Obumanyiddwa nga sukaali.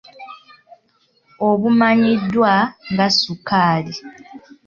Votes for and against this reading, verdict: 2, 1, accepted